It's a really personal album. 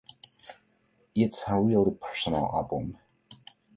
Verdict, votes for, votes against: accepted, 2, 0